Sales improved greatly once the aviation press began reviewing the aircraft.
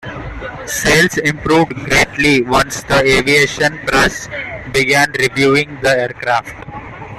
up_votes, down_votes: 1, 2